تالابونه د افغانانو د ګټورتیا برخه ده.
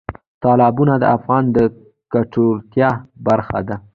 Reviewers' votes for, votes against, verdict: 2, 1, accepted